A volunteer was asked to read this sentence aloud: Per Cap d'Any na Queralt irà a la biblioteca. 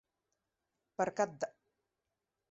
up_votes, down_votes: 0, 3